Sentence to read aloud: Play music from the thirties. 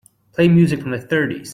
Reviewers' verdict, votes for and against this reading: accepted, 2, 0